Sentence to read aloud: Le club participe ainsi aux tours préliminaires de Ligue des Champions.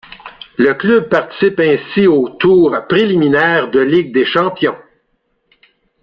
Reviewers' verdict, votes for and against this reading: accepted, 2, 1